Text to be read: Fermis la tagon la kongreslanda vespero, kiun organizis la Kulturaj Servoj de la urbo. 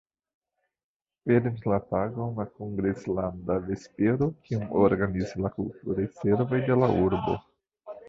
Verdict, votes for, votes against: rejected, 1, 3